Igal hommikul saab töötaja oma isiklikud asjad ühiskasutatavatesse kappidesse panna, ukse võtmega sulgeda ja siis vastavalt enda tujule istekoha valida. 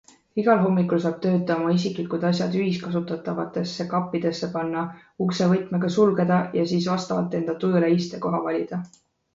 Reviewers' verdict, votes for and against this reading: accepted, 2, 0